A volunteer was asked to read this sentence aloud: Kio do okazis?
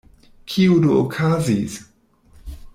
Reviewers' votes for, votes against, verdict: 1, 2, rejected